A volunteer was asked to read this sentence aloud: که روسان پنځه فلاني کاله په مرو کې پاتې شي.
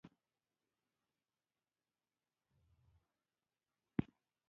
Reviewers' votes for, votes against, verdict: 1, 2, rejected